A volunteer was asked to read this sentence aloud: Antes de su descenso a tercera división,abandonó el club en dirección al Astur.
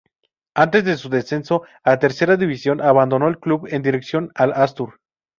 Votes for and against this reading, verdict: 0, 2, rejected